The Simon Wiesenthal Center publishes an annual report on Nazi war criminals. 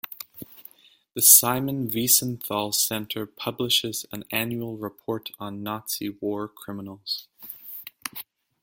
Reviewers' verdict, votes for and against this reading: rejected, 0, 2